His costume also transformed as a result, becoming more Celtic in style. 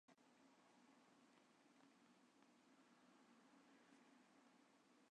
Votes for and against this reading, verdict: 0, 2, rejected